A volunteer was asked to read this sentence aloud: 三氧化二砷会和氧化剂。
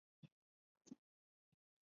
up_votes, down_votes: 0, 2